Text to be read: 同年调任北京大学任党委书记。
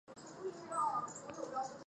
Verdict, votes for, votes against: rejected, 0, 2